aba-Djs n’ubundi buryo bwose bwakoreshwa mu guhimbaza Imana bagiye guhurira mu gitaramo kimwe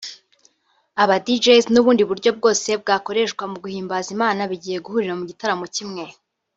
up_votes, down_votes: 0, 2